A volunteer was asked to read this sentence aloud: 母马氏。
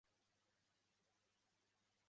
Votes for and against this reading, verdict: 4, 0, accepted